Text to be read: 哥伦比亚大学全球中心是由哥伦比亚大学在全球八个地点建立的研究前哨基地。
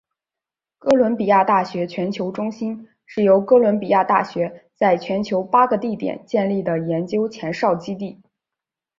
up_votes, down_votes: 2, 0